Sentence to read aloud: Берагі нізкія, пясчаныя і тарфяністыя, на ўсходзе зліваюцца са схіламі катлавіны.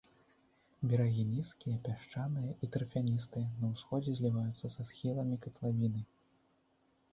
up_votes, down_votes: 0, 2